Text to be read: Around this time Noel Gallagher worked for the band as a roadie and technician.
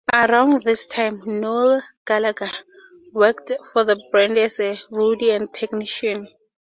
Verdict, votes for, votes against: accepted, 6, 2